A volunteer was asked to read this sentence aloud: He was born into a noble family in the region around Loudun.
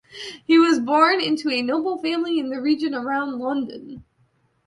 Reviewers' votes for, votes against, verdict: 0, 2, rejected